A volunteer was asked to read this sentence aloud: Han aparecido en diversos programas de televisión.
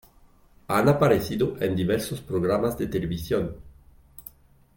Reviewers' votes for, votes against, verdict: 3, 0, accepted